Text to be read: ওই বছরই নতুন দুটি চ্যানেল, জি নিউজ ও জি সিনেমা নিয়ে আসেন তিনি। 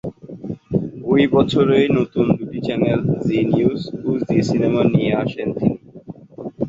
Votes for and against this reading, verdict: 3, 3, rejected